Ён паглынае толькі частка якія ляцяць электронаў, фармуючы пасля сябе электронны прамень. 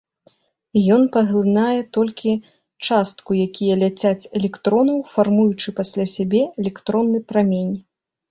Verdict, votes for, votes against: rejected, 1, 2